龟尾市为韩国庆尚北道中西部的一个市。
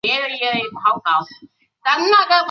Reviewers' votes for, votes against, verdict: 0, 3, rejected